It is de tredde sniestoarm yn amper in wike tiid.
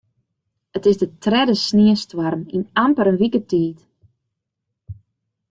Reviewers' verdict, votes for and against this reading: accepted, 2, 0